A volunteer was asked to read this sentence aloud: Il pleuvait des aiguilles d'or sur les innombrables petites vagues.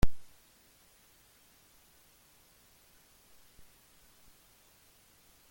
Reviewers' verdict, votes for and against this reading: rejected, 0, 2